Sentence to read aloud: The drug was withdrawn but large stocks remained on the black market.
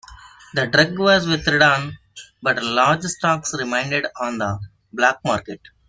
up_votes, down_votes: 1, 2